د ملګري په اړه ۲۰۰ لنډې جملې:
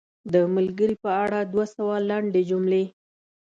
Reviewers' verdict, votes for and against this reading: rejected, 0, 2